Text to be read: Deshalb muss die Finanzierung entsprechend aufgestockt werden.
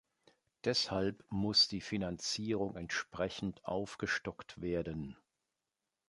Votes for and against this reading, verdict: 2, 0, accepted